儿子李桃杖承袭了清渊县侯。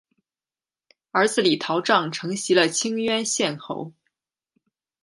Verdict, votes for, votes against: accepted, 2, 0